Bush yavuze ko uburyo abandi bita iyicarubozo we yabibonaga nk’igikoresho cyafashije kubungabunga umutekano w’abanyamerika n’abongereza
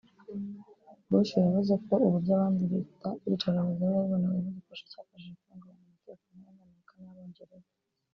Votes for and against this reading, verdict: 0, 2, rejected